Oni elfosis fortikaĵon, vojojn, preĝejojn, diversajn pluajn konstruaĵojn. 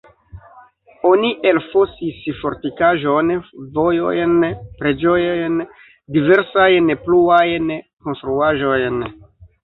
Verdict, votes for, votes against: rejected, 0, 2